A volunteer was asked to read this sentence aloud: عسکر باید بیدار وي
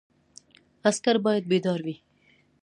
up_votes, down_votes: 1, 2